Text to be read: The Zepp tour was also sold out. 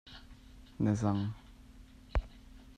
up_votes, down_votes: 1, 2